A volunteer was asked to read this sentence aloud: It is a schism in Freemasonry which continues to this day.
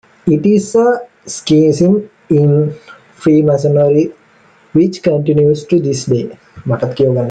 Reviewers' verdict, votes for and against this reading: rejected, 0, 2